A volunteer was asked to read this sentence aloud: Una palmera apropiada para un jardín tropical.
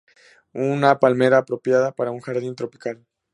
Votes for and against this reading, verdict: 2, 0, accepted